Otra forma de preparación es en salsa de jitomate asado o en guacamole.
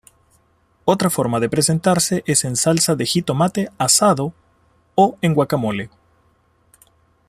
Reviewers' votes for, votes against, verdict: 0, 2, rejected